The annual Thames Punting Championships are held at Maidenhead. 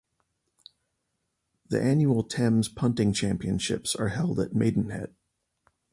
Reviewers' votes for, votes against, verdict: 2, 2, rejected